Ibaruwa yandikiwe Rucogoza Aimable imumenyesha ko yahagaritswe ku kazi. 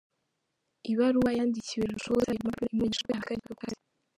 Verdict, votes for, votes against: rejected, 0, 2